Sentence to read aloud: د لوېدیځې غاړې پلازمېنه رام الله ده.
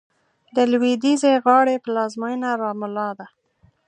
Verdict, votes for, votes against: accepted, 3, 0